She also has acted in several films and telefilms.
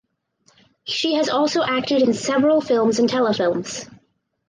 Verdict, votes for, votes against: rejected, 0, 4